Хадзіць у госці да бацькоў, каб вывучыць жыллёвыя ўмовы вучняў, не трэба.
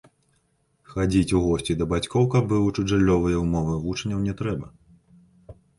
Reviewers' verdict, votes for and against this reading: accepted, 2, 0